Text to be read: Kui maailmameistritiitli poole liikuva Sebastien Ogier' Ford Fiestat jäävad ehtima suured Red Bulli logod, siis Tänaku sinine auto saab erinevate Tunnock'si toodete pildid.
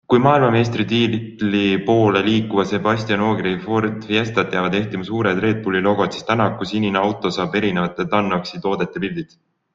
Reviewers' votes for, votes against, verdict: 2, 0, accepted